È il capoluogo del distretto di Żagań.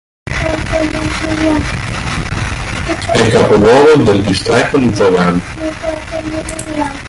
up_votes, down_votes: 1, 2